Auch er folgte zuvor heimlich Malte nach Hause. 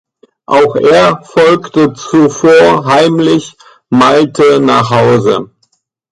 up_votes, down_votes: 3, 0